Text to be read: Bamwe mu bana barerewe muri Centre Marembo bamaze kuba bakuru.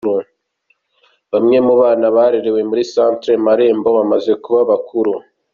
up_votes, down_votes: 1, 2